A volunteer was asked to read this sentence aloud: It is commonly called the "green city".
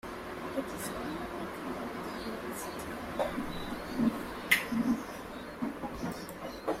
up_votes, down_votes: 2, 1